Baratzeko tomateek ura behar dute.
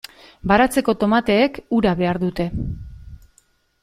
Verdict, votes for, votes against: accepted, 2, 0